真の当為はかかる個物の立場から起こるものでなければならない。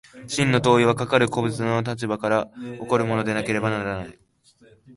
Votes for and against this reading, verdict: 2, 0, accepted